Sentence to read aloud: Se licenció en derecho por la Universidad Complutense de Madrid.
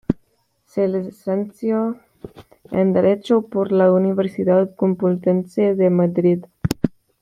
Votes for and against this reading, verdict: 1, 2, rejected